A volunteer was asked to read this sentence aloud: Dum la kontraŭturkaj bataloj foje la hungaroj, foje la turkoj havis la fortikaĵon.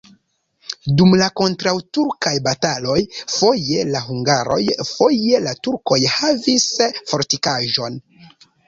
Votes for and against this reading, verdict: 0, 2, rejected